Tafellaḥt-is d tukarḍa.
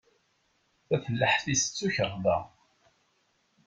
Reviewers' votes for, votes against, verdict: 2, 0, accepted